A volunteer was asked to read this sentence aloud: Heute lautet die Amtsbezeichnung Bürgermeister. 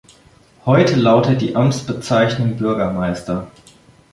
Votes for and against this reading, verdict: 2, 0, accepted